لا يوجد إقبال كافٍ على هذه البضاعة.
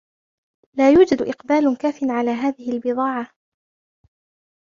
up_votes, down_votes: 2, 0